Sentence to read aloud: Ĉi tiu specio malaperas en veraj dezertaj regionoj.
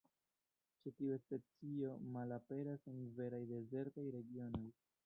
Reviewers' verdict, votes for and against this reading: rejected, 1, 2